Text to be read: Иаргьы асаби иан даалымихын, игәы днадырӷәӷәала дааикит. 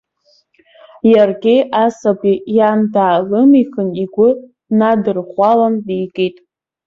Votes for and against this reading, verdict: 0, 2, rejected